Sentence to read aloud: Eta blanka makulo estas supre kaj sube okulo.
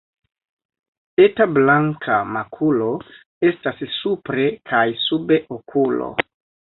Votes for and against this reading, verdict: 2, 0, accepted